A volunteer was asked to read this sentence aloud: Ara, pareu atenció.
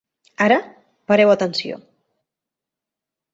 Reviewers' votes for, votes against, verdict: 3, 0, accepted